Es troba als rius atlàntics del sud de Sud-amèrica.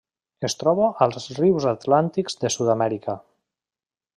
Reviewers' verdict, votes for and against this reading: rejected, 0, 2